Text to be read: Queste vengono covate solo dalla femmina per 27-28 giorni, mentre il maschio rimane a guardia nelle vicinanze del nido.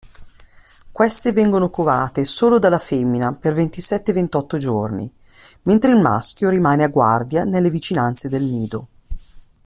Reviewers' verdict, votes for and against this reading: rejected, 0, 2